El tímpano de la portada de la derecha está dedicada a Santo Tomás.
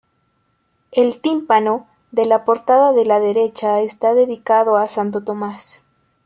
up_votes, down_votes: 0, 2